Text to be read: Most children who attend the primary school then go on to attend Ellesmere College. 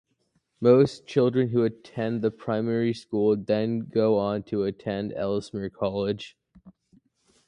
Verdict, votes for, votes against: accepted, 2, 0